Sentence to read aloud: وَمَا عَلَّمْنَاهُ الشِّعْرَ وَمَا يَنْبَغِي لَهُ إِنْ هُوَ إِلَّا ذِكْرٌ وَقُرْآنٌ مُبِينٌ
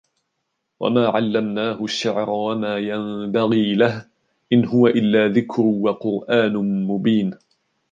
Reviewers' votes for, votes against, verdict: 3, 0, accepted